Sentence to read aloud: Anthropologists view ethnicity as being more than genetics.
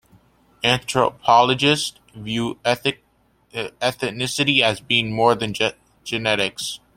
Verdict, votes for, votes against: rejected, 0, 2